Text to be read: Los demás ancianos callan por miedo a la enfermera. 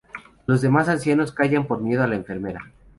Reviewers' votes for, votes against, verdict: 0, 2, rejected